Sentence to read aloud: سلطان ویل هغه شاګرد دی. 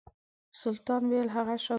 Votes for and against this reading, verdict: 1, 2, rejected